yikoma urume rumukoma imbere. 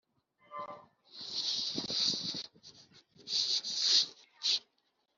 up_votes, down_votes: 0, 3